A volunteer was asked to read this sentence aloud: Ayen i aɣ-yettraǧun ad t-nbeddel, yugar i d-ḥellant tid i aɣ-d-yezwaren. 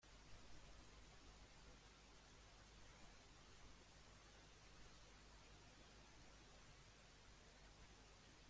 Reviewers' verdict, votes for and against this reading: rejected, 0, 2